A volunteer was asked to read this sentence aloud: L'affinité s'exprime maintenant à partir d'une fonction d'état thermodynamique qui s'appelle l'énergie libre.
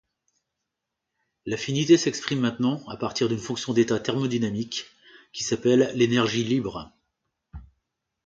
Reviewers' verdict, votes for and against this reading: accepted, 2, 0